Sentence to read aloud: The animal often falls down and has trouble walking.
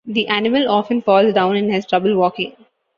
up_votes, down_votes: 3, 0